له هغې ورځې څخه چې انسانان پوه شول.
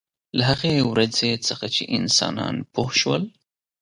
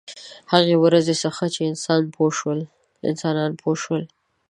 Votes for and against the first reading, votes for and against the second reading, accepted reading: 2, 0, 0, 2, first